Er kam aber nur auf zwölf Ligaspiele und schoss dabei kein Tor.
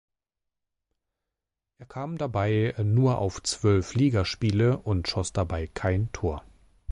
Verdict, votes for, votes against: rejected, 1, 3